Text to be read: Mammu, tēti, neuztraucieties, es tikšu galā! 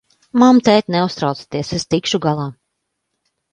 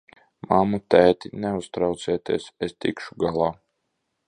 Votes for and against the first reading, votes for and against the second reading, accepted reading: 0, 2, 2, 1, second